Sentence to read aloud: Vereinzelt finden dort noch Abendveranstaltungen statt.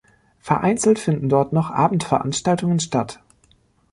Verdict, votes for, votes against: accepted, 2, 0